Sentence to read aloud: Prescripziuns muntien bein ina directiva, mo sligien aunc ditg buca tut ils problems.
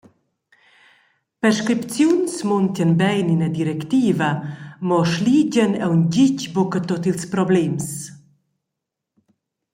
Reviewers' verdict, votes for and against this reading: accepted, 2, 0